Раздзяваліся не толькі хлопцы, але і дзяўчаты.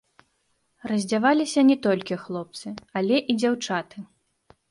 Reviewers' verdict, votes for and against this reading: accepted, 2, 0